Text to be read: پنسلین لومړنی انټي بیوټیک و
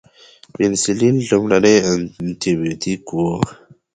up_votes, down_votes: 2, 0